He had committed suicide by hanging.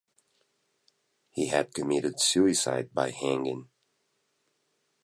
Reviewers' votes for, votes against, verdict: 2, 0, accepted